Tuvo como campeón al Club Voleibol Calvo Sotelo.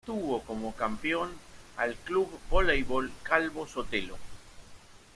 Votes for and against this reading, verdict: 2, 0, accepted